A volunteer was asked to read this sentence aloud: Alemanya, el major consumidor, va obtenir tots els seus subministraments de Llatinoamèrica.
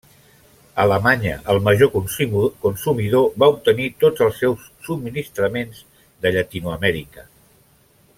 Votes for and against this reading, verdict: 0, 2, rejected